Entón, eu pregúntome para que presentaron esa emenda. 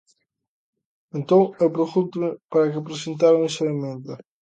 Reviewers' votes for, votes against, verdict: 0, 2, rejected